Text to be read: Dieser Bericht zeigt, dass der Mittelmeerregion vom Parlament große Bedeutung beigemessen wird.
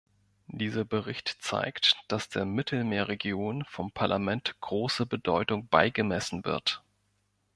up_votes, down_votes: 2, 0